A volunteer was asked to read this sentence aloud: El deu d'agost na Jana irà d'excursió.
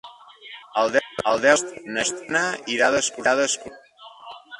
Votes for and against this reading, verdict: 0, 2, rejected